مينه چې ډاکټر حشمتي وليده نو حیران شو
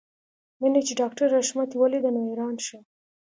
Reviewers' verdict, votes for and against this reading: accepted, 2, 0